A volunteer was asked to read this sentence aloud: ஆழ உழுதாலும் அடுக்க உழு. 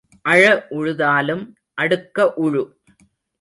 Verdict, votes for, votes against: rejected, 0, 2